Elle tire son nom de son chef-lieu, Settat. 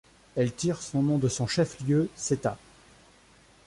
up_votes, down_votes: 2, 0